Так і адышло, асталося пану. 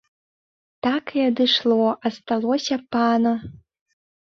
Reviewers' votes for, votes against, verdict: 0, 2, rejected